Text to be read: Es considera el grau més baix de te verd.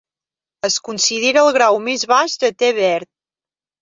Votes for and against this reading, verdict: 1, 2, rejected